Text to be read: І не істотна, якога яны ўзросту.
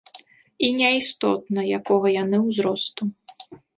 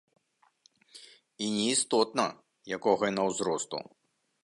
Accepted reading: first